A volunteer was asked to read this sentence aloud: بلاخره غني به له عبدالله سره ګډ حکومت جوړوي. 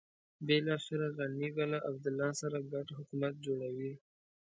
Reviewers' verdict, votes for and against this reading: accepted, 2, 0